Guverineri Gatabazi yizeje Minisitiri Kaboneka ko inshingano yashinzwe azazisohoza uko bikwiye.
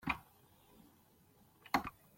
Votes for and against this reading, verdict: 0, 2, rejected